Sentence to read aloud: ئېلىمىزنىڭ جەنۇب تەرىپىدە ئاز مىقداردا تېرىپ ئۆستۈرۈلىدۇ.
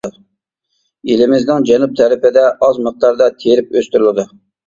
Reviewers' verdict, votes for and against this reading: accepted, 2, 0